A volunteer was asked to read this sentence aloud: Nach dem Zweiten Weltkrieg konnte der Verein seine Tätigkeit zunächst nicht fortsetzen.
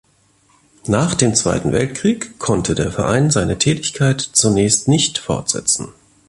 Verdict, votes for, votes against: accepted, 2, 0